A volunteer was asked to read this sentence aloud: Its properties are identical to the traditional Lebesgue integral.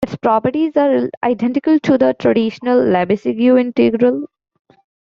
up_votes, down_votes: 2, 1